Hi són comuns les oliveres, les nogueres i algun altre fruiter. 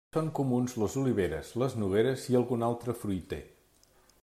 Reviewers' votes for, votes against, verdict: 0, 2, rejected